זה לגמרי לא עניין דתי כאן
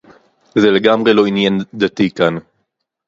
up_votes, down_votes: 2, 2